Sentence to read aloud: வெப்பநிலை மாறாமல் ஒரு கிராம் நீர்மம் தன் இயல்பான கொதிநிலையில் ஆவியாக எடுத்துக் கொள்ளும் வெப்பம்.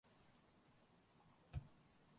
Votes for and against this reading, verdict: 0, 2, rejected